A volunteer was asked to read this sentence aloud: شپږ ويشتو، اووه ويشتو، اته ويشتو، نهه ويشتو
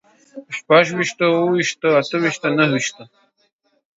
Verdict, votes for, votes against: accepted, 2, 0